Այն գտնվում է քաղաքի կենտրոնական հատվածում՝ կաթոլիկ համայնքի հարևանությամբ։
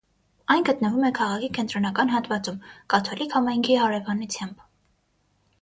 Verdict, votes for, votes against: accepted, 6, 3